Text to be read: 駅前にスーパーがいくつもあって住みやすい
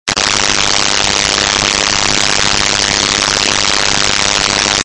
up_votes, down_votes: 0, 2